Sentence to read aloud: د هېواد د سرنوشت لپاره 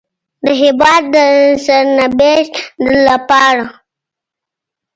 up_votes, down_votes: 2, 0